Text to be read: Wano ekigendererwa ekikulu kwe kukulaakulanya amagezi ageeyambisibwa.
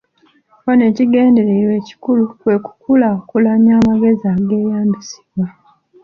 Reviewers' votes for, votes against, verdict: 3, 0, accepted